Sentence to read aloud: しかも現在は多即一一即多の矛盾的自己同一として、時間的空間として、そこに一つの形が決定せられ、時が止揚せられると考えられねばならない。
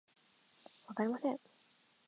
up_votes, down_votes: 0, 2